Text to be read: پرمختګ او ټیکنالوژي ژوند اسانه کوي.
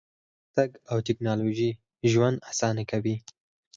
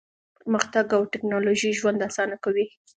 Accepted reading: second